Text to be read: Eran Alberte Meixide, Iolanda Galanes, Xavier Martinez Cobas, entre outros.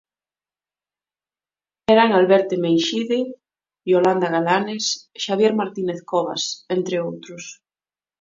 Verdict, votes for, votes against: accepted, 2, 0